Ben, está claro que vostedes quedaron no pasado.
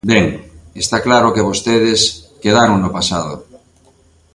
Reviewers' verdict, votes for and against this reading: rejected, 0, 2